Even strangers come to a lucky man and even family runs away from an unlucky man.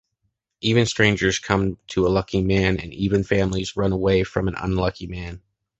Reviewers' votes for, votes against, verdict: 0, 2, rejected